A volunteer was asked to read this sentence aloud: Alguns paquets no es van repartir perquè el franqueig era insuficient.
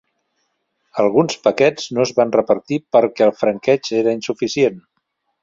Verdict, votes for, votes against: accepted, 3, 0